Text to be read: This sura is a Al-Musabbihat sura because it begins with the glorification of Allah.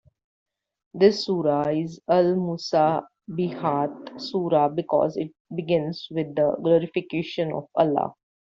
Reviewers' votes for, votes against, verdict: 2, 0, accepted